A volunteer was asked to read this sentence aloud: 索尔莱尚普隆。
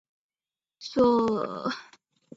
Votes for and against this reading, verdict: 1, 3, rejected